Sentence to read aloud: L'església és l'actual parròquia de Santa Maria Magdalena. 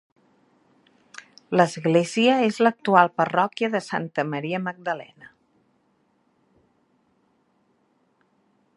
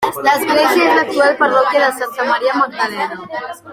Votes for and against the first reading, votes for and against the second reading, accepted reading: 4, 0, 1, 2, first